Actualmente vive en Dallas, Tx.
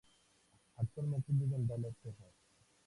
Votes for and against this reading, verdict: 0, 2, rejected